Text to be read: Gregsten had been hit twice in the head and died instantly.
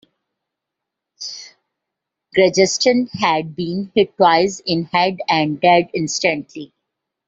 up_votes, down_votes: 0, 2